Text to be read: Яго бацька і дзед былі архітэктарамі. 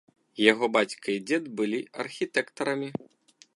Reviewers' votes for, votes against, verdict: 2, 0, accepted